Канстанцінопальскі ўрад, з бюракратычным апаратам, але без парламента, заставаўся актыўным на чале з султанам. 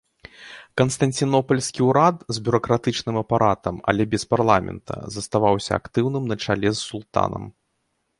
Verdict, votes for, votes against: accepted, 2, 0